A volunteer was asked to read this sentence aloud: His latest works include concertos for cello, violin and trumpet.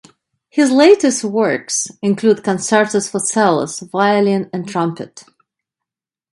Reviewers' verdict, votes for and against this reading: rejected, 0, 2